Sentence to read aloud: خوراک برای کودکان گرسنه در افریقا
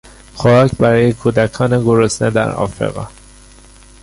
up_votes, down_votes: 1, 2